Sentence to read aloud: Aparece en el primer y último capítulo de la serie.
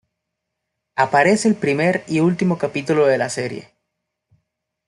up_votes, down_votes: 0, 2